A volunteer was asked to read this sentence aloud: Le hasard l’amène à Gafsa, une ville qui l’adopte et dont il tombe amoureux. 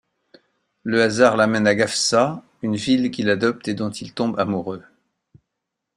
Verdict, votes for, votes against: accepted, 2, 0